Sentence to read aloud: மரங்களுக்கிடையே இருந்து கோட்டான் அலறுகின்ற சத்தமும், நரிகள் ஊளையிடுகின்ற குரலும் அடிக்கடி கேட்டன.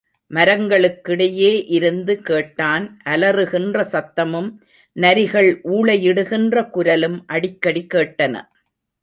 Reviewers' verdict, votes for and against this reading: rejected, 1, 2